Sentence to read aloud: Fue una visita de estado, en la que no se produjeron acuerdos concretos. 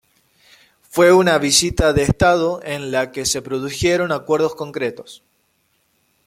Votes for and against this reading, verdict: 1, 2, rejected